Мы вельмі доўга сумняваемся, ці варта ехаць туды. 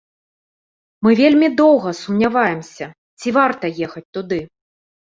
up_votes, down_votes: 2, 0